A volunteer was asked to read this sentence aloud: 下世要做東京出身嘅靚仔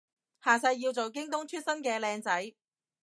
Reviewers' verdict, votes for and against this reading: rejected, 1, 2